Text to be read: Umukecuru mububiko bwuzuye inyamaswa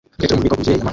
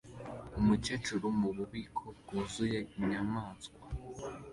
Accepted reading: second